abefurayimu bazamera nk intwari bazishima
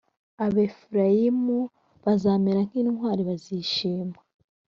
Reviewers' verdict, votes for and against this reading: rejected, 1, 2